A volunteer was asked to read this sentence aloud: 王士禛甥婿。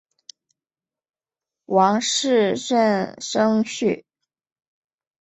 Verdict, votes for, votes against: accepted, 2, 0